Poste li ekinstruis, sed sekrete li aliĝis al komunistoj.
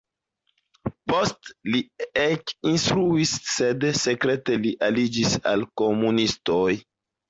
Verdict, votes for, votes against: rejected, 1, 2